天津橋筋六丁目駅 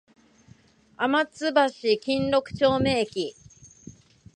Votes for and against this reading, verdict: 0, 2, rejected